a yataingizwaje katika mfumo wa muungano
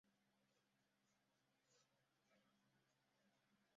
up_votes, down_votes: 0, 2